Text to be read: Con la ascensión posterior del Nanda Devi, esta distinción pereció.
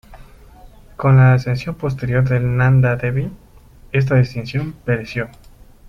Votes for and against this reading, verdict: 1, 2, rejected